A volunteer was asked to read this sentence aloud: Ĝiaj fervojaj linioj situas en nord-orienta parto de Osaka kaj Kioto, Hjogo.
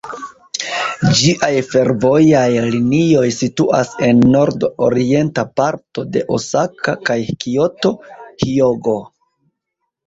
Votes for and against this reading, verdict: 2, 1, accepted